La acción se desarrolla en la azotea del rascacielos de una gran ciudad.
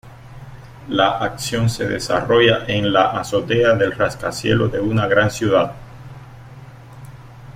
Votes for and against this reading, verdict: 2, 0, accepted